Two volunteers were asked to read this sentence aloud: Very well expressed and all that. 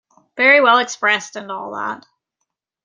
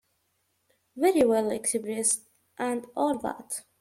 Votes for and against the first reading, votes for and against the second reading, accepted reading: 2, 1, 1, 2, first